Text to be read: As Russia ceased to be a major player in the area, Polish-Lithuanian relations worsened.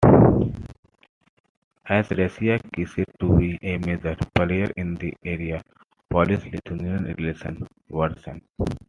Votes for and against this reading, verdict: 2, 1, accepted